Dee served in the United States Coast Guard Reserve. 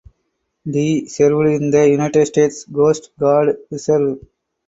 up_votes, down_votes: 4, 0